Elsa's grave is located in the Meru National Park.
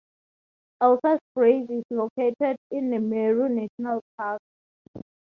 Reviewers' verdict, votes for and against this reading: rejected, 0, 4